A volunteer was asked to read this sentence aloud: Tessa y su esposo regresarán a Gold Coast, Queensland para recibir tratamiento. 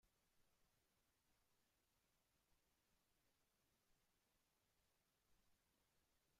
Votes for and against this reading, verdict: 0, 2, rejected